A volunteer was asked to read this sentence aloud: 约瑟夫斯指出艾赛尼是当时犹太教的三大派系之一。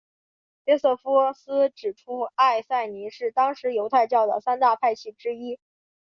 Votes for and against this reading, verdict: 8, 0, accepted